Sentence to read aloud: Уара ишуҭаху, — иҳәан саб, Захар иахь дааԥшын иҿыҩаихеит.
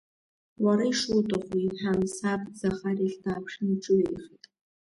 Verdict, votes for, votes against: accepted, 2, 0